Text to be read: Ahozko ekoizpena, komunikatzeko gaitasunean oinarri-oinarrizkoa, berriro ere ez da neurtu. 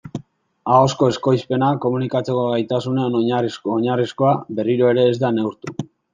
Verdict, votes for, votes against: rejected, 0, 2